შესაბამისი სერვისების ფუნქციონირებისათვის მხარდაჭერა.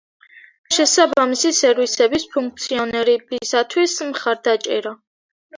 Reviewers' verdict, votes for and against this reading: rejected, 1, 2